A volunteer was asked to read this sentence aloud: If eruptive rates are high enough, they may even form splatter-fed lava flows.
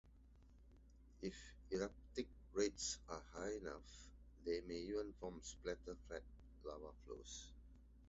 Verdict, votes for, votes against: accepted, 2, 1